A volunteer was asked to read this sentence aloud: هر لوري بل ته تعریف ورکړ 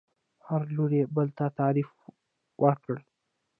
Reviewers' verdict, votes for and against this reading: rejected, 0, 2